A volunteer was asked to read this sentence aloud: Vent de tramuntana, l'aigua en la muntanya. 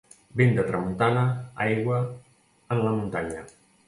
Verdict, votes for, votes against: rejected, 0, 2